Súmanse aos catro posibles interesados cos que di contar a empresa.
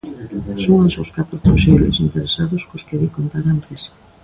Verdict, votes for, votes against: rejected, 0, 2